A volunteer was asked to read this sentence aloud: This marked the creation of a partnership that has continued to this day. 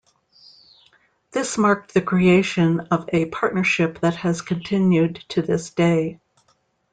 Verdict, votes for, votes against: accepted, 2, 0